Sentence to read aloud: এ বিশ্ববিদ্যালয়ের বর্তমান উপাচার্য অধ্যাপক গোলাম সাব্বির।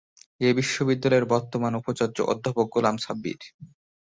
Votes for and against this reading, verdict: 3, 0, accepted